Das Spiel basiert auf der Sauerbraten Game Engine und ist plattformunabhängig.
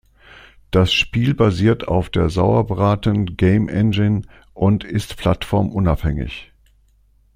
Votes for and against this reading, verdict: 2, 0, accepted